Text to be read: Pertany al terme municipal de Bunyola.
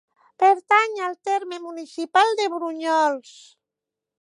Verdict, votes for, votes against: rejected, 0, 2